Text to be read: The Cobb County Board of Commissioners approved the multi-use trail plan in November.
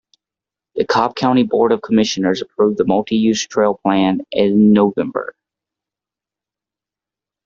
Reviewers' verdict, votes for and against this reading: accepted, 2, 0